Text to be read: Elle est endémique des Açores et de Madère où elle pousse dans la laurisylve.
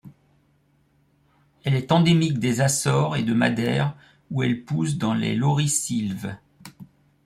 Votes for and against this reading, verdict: 0, 2, rejected